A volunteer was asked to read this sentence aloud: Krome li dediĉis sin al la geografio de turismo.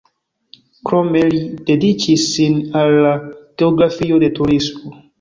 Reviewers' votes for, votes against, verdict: 2, 0, accepted